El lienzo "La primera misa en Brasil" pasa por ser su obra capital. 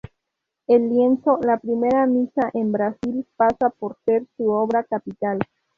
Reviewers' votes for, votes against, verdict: 0, 2, rejected